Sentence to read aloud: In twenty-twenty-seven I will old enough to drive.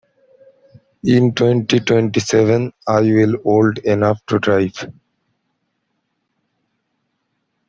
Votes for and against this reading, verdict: 2, 1, accepted